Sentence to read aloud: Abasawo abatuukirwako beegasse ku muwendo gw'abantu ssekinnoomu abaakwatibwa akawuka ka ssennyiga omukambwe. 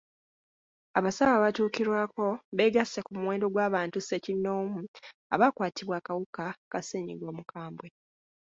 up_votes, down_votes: 1, 2